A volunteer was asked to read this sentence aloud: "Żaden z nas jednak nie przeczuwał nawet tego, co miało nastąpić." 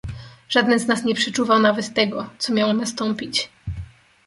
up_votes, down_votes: 0, 2